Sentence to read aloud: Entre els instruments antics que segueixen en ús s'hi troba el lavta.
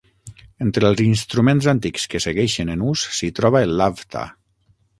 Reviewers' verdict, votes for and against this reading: accepted, 9, 0